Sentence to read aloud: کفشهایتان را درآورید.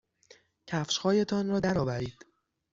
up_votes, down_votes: 6, 0